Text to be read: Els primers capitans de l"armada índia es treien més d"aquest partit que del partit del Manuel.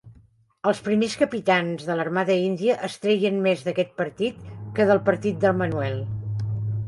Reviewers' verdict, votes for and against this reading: accepted, 2, 0